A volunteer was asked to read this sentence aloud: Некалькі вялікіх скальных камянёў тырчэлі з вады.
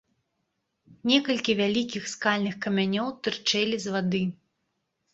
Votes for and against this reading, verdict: 2, 0, accepted